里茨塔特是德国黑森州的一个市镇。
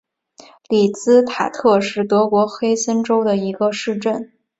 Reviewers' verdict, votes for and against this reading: accepted, 2, 1